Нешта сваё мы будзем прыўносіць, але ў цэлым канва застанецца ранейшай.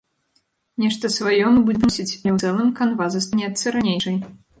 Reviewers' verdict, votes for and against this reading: rejected, 0, 2